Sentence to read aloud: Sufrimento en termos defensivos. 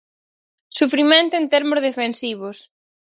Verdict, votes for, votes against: accepted, 4, 0